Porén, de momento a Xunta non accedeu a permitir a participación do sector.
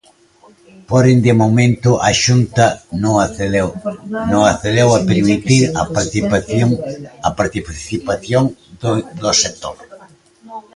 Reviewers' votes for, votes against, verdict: 0, 2, rejected